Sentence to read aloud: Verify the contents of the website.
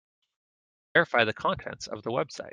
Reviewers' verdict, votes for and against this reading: rejected, 0, 2